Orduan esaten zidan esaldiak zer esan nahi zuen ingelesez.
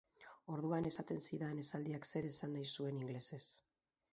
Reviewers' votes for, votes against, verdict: 2, 2, rejected